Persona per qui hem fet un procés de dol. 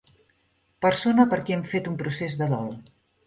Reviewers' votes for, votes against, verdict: 2, 0, accepted